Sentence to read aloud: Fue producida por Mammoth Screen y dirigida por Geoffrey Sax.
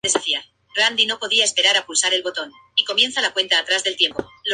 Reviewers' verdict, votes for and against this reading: rejected, 0, 2